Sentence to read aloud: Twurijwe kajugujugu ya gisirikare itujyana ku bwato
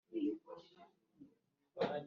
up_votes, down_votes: 0, 2